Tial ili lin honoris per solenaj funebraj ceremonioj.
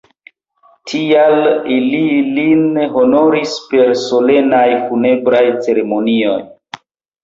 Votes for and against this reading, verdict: 1, 3, rejected